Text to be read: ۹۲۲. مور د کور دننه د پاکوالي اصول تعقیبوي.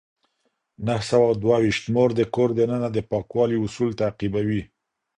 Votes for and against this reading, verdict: 0, 2, rejected